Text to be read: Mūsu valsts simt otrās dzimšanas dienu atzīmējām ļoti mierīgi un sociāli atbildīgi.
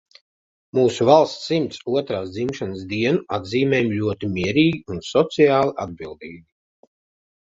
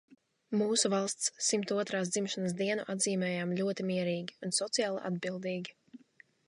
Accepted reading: second